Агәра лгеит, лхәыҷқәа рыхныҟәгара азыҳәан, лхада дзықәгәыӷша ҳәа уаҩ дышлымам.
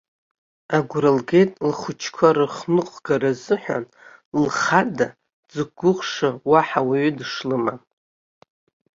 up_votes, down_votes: 2, 3